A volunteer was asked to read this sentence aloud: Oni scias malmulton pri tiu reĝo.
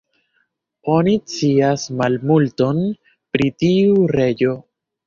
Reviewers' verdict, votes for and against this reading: rejected, 1, 2